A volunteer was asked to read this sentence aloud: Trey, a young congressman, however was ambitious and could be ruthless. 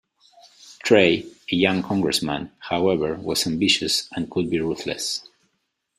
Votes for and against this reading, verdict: 2, 0, accepted